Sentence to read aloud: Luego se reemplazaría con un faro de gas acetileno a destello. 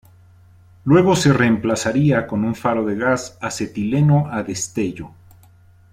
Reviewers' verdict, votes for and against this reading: accepted, 2, 0